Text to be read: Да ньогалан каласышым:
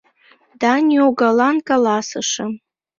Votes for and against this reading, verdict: 2, 0, accepted